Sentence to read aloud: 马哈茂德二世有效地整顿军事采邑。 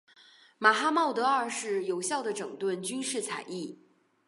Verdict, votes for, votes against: accepted, 3, 1